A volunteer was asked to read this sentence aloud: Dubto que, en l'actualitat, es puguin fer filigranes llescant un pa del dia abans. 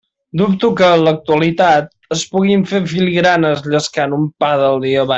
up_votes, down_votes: 0, 2